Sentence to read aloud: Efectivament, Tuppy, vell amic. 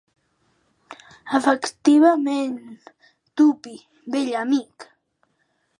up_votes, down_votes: 3, 2